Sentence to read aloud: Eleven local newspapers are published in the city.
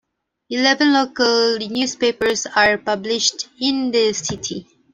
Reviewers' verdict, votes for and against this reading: accepted, 2, 0